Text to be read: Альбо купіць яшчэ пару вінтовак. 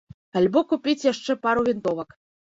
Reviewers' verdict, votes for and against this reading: accepted, 2, 0